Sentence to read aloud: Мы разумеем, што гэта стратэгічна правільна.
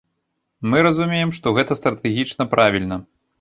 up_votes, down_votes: 2, 0